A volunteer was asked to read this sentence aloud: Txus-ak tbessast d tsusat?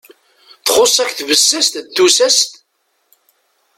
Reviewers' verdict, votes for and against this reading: accepted, 2, 0